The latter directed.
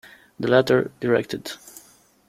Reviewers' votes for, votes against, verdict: 2, 0, accepted